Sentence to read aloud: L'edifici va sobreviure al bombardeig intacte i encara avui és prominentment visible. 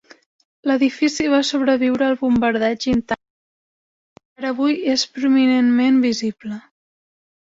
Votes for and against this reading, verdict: 0, 2, rejected